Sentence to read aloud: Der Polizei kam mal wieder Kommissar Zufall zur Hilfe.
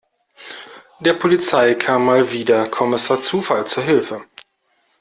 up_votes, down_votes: 2, 0